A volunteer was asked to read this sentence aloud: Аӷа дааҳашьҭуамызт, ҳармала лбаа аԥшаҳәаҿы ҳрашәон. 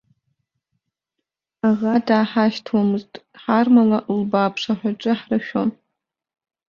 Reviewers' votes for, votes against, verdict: 0, 2, rejected